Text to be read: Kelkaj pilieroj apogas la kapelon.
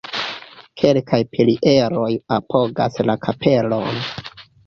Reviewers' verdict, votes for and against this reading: accepted, 3, 1